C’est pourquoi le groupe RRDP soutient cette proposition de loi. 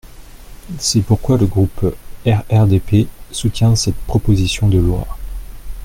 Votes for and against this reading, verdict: 2, 0, accepted